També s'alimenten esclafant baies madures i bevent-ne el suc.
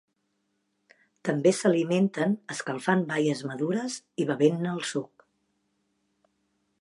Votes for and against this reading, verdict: 0, 2, rejected